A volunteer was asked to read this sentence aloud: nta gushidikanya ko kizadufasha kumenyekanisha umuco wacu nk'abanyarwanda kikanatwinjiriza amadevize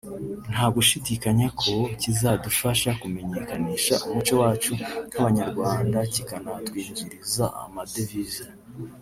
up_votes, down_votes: 0, 2